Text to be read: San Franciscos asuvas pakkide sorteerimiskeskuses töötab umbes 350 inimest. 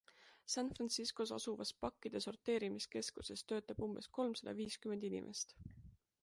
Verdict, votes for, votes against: rejected, 0, 2